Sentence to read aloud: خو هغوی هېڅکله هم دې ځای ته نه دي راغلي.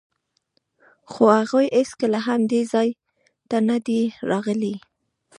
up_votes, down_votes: 3, 0